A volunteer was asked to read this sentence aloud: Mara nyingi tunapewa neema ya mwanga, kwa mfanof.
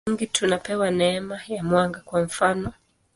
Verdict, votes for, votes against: rejected, 0, 2